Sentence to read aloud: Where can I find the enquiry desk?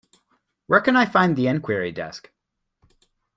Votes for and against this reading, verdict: 2, 0, accepted